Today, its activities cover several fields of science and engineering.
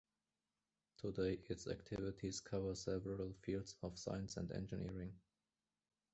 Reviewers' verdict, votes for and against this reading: accepted, 2, 0